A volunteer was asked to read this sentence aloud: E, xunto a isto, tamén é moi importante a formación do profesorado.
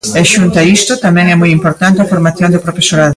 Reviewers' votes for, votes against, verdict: 2, 0, accepted